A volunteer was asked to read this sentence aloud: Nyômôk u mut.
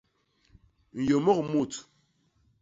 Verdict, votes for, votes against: accepted, 2, 0